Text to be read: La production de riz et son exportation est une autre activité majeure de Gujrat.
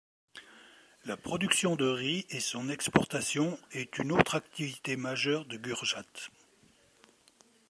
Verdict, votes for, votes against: rejected, 1, 3